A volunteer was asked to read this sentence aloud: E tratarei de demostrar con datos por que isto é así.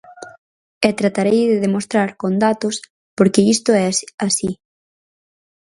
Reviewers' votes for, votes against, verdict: 0, 4, rejected